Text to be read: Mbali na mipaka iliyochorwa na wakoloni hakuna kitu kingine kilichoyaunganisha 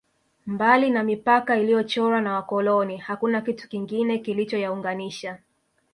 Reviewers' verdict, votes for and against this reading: accepted, 2, 0